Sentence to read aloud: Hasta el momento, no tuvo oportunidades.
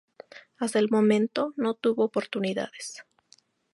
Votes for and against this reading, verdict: 2, 0, accepted